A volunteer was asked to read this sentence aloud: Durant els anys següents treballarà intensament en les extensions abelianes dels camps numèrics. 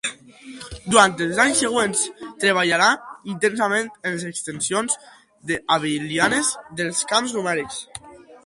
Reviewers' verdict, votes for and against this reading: rejected, 0, 2